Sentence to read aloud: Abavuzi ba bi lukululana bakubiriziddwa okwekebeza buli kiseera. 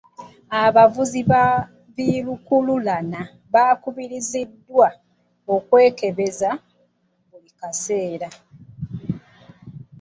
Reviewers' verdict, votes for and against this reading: rejected, 1, 2